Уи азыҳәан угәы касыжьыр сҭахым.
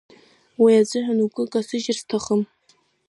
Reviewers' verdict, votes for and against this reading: accepted, 2, 0